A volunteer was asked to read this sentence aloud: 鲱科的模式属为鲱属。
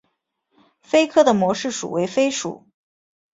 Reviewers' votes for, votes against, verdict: 2, 1, accepted